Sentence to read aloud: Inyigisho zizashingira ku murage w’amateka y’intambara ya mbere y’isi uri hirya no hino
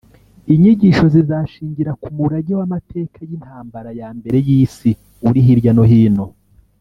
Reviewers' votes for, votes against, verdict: 1, 2, rejected